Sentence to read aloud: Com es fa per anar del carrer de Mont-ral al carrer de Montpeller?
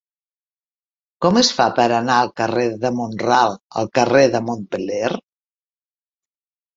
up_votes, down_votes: 0, 2